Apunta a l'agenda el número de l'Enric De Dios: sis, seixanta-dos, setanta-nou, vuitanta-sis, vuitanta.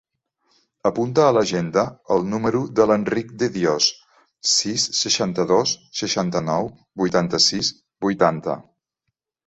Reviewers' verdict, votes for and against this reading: rejected, 1, 2